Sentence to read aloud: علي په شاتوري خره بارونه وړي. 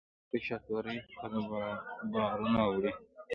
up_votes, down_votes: 2, 1